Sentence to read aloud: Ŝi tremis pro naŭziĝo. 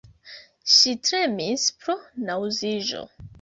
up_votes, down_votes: 1, 2